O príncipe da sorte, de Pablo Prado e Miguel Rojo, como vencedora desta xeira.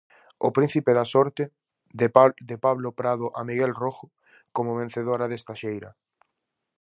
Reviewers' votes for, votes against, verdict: 0, 4, rejected